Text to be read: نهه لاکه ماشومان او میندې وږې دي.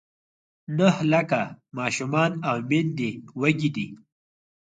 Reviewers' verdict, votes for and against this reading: accepted, 4, 2